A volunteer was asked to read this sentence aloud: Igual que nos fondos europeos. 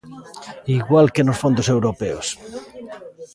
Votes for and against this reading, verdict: 2, 0, accepted